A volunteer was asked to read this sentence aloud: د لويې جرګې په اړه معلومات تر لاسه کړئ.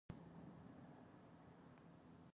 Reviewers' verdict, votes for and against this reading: rejected, 1, 2